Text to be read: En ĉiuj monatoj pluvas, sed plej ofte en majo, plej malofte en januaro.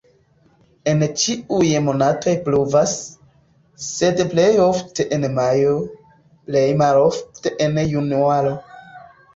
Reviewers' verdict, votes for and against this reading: accepted, 2, 1